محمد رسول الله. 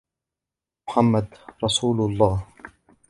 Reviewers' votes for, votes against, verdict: 2, 0, accepted